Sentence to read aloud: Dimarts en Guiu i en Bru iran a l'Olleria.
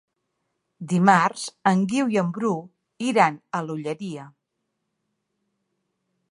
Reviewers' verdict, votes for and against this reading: accepted, 3, 0